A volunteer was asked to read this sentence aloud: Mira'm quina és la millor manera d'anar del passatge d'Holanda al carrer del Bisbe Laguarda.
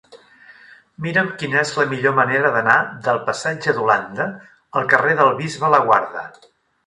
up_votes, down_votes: 2, 0